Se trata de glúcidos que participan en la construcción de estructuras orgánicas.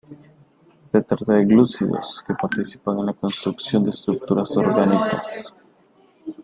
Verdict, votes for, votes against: rejected, 1, 2